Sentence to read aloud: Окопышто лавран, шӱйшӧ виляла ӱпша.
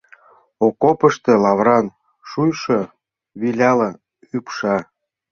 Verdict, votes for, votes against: rejected, 1, 2